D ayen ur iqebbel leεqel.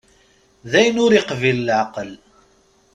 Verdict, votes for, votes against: rejected, 1, 2